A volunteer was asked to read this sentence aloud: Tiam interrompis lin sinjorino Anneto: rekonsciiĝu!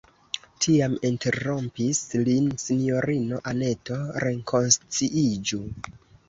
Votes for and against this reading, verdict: 2, 1, accepted